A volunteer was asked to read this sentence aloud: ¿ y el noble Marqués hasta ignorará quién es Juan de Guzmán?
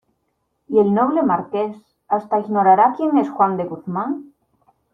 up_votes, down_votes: 2, 0